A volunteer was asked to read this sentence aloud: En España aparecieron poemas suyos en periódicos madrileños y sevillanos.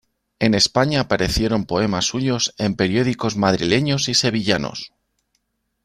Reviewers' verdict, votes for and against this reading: accepted, 2, 0